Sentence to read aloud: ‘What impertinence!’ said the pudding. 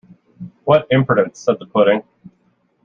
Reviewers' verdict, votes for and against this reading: accepted, 2, 1